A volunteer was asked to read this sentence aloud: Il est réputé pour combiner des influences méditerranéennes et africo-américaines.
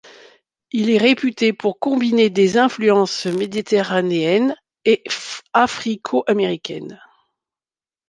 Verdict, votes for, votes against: rejected, 0, 2